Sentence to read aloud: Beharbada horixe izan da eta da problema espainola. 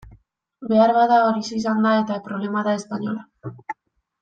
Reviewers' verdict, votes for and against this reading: rejected, 1, 2